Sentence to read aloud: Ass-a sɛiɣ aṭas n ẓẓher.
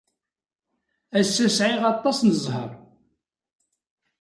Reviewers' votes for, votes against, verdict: 2, 0, accepted